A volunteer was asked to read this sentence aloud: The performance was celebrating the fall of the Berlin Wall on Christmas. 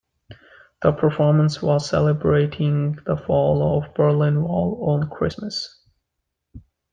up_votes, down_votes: 0, 2